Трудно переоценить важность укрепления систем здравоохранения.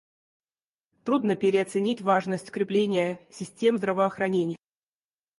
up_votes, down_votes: 0, 4